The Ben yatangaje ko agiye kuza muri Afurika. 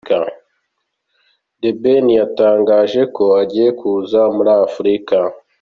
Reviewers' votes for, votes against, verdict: 2, 0, accepted